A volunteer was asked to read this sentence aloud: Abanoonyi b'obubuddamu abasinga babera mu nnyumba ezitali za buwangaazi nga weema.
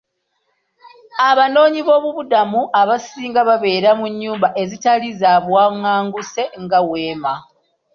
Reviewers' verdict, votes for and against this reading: rejected, 1, 2